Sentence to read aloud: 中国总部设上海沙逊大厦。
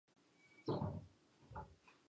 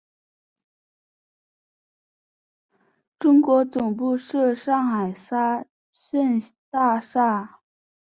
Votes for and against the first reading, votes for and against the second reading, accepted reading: 1, 2, 2, 1, second